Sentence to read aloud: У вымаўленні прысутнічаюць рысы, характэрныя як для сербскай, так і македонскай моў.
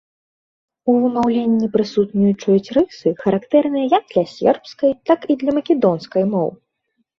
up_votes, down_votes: 0, 2